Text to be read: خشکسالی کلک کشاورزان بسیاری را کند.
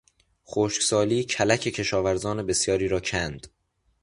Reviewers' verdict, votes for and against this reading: accepted, 2, 0